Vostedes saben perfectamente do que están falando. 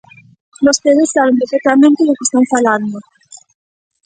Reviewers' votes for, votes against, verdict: 1, 2, rejected